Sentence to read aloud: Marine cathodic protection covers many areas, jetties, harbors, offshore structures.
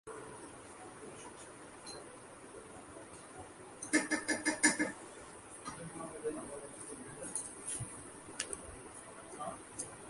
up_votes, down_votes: 0, 4